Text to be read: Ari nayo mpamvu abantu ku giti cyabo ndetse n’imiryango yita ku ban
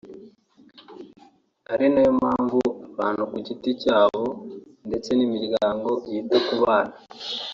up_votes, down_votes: 2, 0